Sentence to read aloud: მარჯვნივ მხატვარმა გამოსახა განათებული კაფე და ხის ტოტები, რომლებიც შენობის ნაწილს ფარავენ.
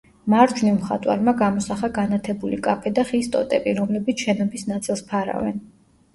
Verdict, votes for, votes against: rejected, 0, 2